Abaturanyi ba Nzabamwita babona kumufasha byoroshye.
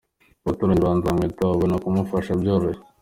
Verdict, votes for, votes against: accepted, 3, 0